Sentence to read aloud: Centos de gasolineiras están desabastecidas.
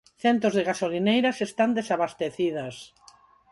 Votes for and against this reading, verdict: 4, 0, accepted